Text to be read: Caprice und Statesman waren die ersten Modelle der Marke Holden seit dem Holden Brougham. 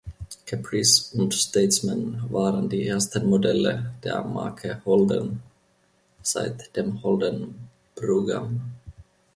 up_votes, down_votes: 1, 2